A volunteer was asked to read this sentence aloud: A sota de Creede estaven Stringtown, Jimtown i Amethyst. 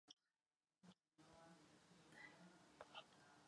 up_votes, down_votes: 1, 2